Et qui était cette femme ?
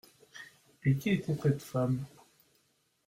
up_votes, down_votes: 1, 2